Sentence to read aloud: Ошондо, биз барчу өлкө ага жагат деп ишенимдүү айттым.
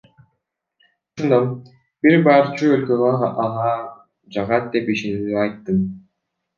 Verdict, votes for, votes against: rejected, 1, 2